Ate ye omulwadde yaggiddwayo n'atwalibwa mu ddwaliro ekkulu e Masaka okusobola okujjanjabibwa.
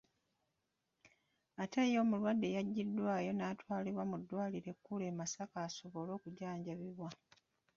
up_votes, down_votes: 1, 2